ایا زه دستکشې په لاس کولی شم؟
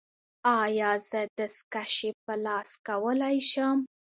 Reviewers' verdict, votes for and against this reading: accepted, 2, 1